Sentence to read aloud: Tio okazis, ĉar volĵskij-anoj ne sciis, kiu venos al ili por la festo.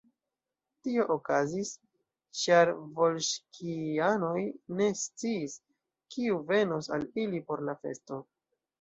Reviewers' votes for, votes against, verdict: 1, 2, rejected